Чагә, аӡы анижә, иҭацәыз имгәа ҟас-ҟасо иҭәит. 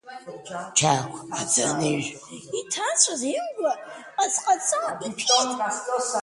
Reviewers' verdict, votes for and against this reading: rejected, 1, 2